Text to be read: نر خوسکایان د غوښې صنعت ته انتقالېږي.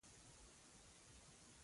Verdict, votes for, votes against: rejected, 0, 2